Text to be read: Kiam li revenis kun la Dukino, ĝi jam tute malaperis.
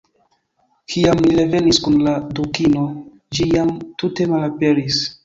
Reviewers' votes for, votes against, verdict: 0, 2, rejected